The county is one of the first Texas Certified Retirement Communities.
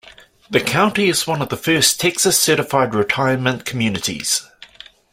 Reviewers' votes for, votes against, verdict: 2, 0, accepted